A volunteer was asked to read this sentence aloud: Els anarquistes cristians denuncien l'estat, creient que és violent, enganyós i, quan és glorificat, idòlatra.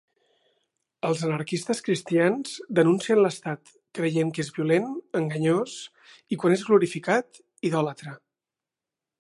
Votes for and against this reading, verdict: 2, 0, accepted